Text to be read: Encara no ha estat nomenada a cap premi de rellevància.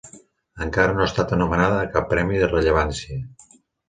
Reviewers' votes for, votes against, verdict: 0, 2, rejected